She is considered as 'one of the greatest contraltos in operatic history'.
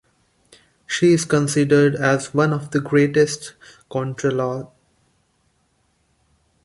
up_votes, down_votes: 0, 2